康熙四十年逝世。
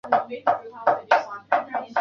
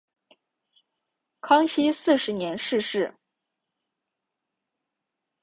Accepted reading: second